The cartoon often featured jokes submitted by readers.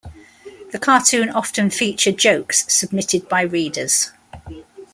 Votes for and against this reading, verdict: 2, 0, accepted